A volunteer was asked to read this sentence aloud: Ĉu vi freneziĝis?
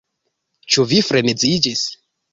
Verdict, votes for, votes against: accepted, 2, 0